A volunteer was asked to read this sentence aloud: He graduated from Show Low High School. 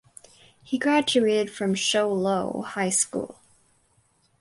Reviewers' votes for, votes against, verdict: 4, 0, accepted